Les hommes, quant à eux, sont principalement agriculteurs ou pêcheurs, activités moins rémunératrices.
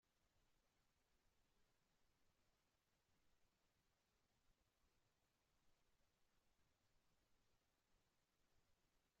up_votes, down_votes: 0, 2